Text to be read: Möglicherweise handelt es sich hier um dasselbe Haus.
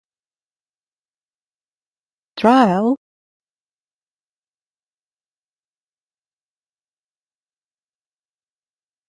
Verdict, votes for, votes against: rejected, 0, 2